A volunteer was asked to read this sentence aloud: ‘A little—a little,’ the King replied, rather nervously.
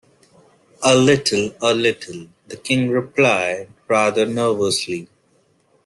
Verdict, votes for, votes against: accepted, 2, 1